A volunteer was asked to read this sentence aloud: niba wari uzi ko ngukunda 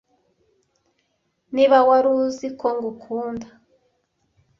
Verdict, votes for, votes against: accepted, 2, 0